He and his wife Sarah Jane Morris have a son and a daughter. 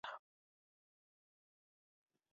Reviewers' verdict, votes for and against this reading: rejected, 0, 2